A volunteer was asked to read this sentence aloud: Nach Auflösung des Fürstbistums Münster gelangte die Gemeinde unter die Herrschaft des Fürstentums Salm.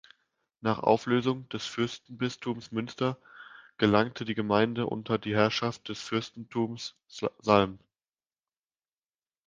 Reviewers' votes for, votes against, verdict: 0, 2, rejected